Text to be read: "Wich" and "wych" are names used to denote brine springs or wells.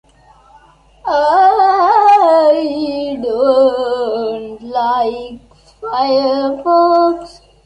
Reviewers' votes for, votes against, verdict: 0, 2, rejected